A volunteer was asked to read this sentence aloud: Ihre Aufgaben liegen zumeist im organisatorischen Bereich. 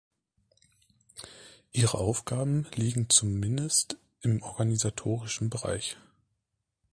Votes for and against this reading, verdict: 0, 2, rejected